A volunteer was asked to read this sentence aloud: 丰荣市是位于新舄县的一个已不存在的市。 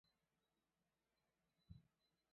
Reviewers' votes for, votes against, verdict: 0, 4, rejected